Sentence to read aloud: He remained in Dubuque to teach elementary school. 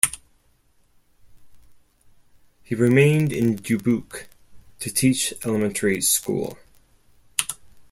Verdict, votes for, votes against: accepted, 4, 0